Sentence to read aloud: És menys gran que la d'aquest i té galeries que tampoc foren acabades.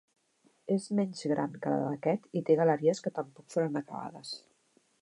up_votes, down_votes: 2, 0